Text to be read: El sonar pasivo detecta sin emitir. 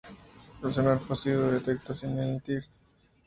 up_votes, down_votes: 2, 0